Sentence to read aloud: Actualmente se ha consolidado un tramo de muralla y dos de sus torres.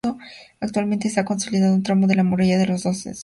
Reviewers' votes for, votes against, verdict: 0, 2, rejected